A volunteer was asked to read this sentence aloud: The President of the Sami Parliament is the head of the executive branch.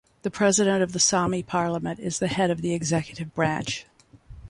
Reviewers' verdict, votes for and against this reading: accepted, 2, 0